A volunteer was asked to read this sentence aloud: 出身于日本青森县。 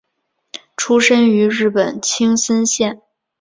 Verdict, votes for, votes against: accepted, 2, 0